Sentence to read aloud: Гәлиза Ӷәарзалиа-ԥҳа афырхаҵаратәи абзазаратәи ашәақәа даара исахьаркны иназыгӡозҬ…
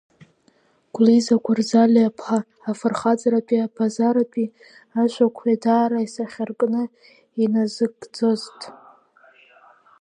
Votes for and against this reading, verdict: 1, 2, rejected